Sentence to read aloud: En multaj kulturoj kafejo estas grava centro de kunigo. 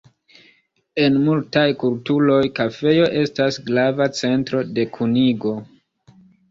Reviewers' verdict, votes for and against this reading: rejected, 1, 2